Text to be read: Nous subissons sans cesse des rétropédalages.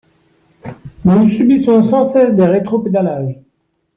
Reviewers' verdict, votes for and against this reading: rejected, 2, 3